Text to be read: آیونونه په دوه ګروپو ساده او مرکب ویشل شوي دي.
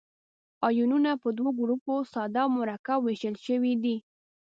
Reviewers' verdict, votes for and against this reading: accepted, 2, 0